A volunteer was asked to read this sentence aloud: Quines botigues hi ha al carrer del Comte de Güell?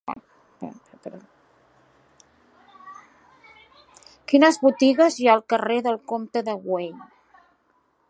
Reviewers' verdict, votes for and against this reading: rejected, 1, 2